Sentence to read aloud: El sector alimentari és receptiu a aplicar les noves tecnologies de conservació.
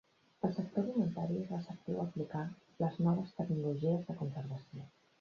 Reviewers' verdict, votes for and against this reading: rejected, 1, 2